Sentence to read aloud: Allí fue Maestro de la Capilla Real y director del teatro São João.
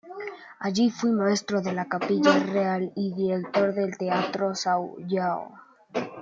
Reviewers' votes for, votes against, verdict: 2, 1, accepted